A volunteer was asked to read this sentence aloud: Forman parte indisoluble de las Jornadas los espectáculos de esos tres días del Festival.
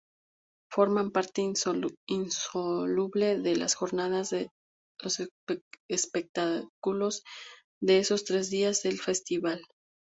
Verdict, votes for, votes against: rejected, 0, 2